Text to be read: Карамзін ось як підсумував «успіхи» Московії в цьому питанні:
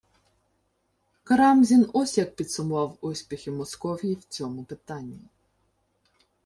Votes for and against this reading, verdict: 1, 2, rejected